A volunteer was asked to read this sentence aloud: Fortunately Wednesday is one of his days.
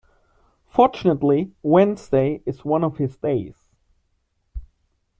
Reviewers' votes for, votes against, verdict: 2, 1, accepted